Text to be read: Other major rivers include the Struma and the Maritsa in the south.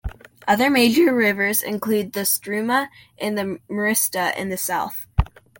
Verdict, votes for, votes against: rejected, 0, 2